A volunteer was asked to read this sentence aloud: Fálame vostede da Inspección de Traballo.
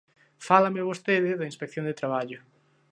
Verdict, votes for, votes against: accepted, 2, 0